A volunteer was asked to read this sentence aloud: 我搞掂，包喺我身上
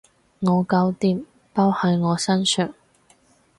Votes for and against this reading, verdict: 4, 0, accepted